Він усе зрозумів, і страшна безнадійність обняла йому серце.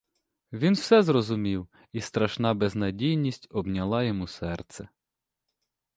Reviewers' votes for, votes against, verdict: 0, 2, rejected